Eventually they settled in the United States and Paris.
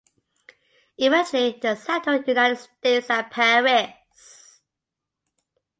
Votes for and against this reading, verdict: 1, 2, rejected